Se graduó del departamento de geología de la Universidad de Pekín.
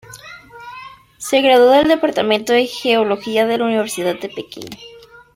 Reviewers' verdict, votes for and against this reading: accepted, 2, 0